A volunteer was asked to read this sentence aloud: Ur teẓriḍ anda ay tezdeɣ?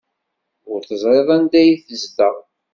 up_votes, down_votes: 2, 1